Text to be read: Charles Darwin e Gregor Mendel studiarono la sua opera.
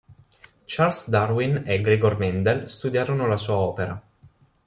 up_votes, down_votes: 4, 0